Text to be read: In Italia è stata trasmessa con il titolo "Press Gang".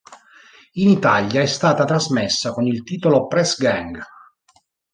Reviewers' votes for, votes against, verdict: 2, 0, accepted